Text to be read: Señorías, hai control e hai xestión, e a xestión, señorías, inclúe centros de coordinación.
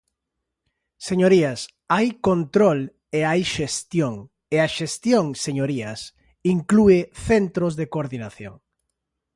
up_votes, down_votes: 2, 0